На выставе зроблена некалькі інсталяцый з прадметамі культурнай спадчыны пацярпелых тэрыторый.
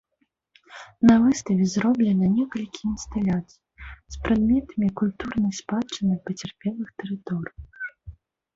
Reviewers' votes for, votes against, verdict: 0, 2, rejected